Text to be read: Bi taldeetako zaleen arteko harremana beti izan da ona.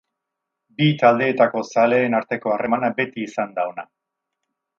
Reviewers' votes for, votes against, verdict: 6, 0, accepted